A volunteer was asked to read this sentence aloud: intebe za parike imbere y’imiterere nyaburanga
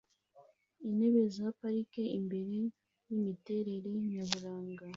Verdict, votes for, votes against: accepted, 2, 0